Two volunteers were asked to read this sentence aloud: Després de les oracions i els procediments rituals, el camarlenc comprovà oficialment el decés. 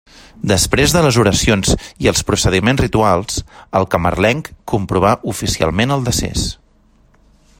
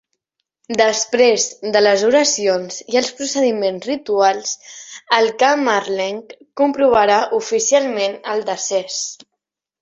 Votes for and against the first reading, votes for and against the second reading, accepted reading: 2, 0, 0, 3, first